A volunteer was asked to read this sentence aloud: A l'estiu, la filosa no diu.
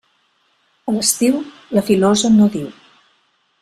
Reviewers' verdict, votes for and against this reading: accepted, 3, 1